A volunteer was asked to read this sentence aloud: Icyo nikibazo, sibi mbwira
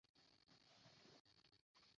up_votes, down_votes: 0, 2